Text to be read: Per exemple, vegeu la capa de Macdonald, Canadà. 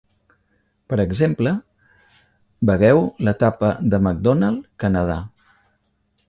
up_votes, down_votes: 0, 2